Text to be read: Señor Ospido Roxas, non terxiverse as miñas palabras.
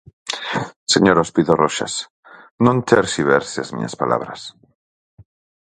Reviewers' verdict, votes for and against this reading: accepted, 4, 0